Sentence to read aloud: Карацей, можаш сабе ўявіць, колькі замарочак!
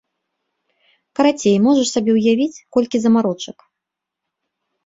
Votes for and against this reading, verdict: 2, 0, accepted